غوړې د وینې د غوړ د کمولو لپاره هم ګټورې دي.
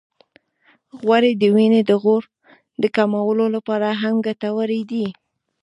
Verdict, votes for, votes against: accepted, 2, 1